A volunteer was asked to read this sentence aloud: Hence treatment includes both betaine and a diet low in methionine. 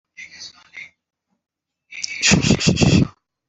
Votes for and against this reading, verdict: 0, 2, rejected